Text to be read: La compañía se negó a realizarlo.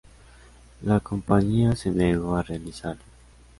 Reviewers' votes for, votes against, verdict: 0, 2, rejected